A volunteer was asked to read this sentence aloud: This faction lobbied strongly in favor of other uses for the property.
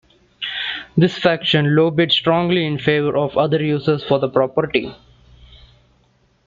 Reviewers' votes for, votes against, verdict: 1, 2, rejected